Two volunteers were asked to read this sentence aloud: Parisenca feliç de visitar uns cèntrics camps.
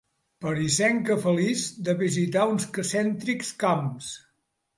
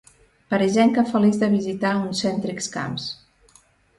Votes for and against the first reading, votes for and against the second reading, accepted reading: 1, 2, 3, 0, second